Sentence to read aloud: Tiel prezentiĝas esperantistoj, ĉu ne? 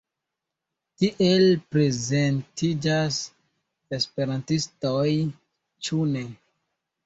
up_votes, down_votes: 2, 1